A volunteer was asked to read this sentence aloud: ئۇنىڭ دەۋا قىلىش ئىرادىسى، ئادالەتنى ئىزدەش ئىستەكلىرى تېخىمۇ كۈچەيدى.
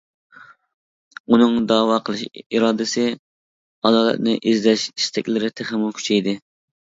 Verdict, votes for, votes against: accepted, 2, 1